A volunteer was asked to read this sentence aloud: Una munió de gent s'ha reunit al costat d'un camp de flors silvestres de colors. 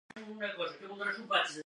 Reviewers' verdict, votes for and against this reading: rejected, 0, 2